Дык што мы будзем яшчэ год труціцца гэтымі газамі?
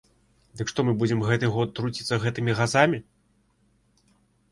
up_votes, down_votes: 1, 2